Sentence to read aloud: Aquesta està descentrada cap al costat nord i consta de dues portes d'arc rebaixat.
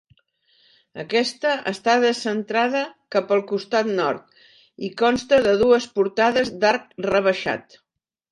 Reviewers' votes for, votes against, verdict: 0, 2, rejected